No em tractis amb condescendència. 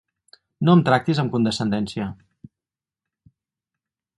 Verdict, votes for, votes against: accepted, 4, 0